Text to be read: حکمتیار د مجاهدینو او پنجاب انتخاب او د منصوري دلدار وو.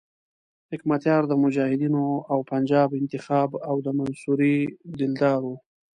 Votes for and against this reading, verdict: 2, 0, accepted